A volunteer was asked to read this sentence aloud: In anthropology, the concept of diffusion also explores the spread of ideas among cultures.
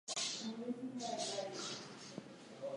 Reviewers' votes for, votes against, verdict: 0, 4, rejected